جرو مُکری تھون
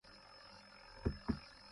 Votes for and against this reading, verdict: 0, 2, rejected